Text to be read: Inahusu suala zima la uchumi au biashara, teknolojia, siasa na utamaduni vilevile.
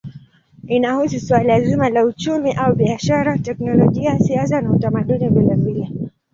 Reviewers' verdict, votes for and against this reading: accepted, 2, 0